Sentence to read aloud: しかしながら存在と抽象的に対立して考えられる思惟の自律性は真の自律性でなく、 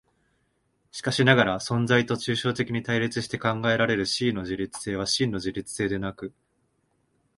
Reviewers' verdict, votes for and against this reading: accepted, 2, 0